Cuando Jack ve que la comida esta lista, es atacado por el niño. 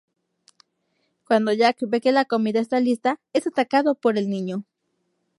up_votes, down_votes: 0, 2